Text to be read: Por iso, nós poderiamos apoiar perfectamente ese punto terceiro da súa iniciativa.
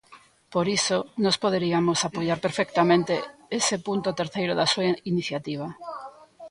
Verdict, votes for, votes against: rejected, 1, 2